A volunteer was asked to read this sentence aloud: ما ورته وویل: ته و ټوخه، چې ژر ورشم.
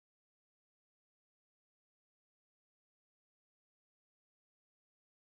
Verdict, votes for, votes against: rejected, 2, 4